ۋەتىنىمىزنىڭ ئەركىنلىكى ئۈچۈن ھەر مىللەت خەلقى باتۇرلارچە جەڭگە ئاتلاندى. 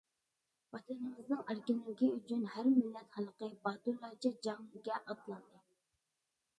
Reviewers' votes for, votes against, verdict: 1, 2, rejected